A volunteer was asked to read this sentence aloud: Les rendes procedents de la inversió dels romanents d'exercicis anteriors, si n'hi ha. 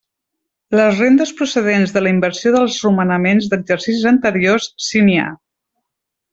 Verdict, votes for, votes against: rejected, 1, 2